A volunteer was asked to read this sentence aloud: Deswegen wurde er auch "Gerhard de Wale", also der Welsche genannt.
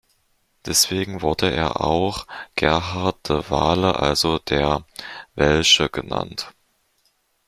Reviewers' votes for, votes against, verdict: 2, 0, accepted